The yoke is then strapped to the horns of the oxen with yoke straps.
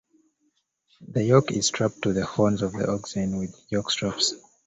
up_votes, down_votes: 0, 2